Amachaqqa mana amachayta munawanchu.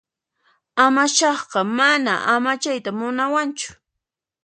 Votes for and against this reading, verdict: 2, 0, accepted